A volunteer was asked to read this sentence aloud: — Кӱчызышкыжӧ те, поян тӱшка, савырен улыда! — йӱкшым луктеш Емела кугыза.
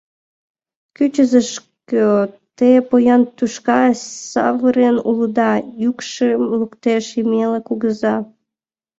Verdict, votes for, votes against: rejected, 0, 2